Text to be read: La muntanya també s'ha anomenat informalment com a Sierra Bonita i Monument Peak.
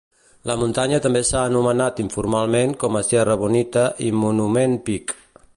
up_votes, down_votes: 2, 0